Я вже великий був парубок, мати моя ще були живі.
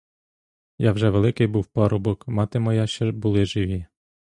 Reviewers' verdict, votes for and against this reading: rejected, 0, 2